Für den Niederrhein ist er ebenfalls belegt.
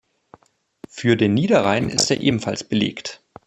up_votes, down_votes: 3, 0